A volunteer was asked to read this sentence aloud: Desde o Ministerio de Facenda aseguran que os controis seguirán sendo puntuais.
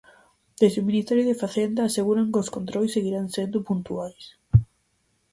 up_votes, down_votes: 4, 0